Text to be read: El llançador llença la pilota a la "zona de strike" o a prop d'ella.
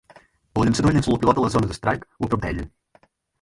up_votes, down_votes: 2, 4